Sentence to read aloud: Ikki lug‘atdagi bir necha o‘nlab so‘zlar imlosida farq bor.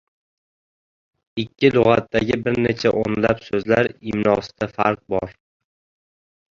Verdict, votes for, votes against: rejected, 0, 2